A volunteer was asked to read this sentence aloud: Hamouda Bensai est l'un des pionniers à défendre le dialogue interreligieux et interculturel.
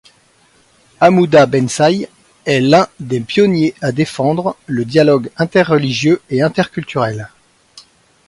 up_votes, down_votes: 2, 1